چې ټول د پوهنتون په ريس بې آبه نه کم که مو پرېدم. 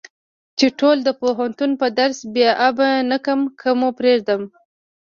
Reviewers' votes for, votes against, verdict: 1, 2, rejected